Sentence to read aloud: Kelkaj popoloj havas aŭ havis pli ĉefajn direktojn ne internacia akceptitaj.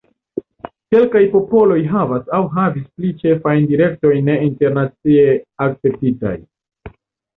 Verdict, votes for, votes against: accepted, 2, 0